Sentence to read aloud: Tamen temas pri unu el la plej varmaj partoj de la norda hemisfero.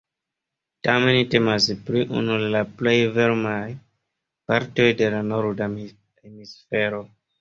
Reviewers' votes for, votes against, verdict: 0, 2, rejected